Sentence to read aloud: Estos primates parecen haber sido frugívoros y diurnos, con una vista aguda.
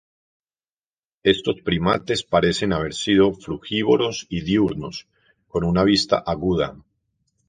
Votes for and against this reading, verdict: 4, 0, accepted